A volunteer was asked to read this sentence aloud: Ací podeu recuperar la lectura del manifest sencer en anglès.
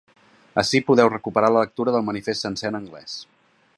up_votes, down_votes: 2, 0